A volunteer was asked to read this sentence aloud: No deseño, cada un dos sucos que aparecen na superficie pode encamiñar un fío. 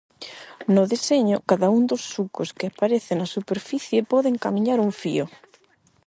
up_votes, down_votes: 8, 0